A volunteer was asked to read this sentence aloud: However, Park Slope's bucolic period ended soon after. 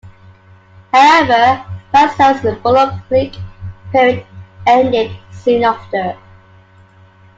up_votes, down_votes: 0, 2